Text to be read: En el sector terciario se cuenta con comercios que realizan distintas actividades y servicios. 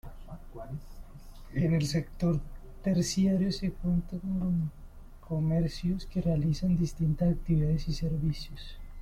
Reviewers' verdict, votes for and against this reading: rejected, 0, 2